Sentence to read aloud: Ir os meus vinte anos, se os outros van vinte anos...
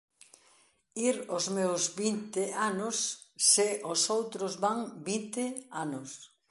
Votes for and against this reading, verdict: 1, 2, rejected